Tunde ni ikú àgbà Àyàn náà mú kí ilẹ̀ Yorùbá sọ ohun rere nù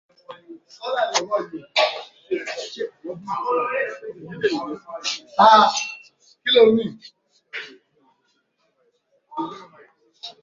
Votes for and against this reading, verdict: 0, 2, rejected